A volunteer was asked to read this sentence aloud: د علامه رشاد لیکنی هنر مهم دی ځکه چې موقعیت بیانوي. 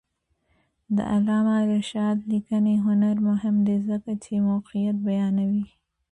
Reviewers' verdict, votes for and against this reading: accepted, 2, 0